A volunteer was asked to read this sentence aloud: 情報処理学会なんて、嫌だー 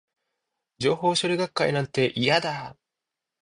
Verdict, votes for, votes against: accepted, 2, 0